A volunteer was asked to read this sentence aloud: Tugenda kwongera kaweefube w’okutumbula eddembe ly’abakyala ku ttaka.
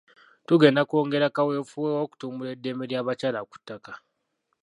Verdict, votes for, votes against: rejected, 0, 2